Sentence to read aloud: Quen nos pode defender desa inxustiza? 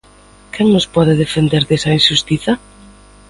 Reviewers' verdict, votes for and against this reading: accepted, 2, 0